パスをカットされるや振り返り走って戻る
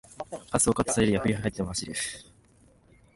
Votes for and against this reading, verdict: 1, 2, rejected